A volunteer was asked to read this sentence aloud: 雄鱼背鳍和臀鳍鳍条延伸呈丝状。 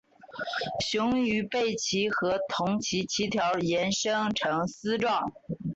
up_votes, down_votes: 2, 0